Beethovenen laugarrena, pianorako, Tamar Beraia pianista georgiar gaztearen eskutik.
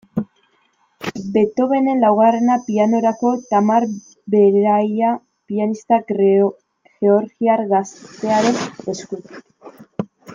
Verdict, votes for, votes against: rejected, 0, 2